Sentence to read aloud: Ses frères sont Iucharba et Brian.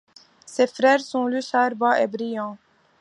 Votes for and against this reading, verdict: 2, 1, accepted